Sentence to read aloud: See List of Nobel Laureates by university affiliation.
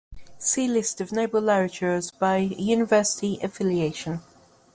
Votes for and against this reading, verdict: 0, 2, rejected